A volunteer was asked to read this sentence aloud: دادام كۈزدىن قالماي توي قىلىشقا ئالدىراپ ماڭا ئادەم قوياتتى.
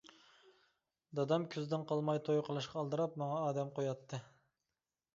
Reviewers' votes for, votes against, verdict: 2, 0, accepted